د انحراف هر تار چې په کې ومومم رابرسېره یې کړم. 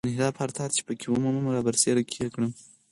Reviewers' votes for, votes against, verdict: 4, 0, accepted